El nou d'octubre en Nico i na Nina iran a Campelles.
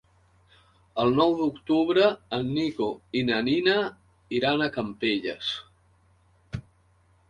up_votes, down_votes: 4, 0